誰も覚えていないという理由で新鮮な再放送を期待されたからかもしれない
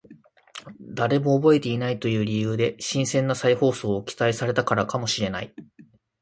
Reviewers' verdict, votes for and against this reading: accepted, 3, 0